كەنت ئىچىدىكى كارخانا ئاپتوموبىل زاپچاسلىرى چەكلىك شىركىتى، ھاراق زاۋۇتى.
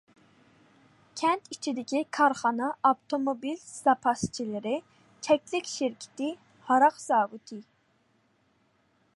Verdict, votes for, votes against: rejected, 1, 2